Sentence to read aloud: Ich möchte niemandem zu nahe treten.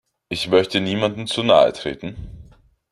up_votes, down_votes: 2, 0